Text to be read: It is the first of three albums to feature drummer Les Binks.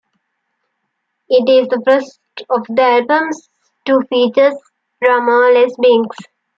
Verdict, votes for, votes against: rejected, 0, 2